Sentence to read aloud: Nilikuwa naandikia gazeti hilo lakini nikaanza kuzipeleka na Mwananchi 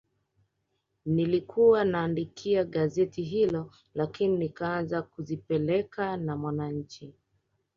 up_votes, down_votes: 1, 2